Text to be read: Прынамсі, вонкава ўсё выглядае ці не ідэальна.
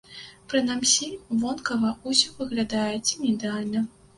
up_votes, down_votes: 1, 2